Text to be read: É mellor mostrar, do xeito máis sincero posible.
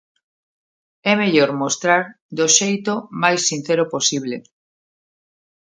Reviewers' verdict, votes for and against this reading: accepted, 2, 0